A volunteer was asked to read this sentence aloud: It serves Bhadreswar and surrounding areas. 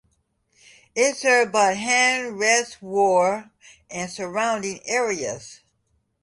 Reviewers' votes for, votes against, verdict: 0, 2, rejected